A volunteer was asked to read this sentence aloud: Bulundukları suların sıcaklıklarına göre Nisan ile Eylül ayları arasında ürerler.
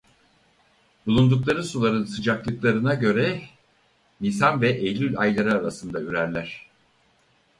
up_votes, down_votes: 2, 4